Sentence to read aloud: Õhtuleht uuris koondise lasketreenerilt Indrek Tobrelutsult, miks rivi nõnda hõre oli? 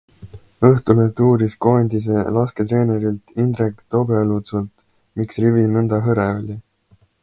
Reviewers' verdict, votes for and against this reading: accepted, 2, 0